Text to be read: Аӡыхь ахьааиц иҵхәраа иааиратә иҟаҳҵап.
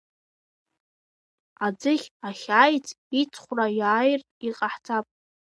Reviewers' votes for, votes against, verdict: 3, 0, accepted